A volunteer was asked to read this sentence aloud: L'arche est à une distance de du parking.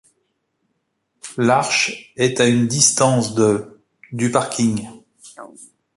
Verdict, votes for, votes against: accepted, 2, 0